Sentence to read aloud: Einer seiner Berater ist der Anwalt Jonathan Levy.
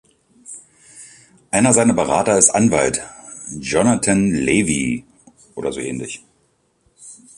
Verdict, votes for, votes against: rejected, 0, 3